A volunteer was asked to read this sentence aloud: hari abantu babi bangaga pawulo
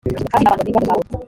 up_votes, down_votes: 0, 2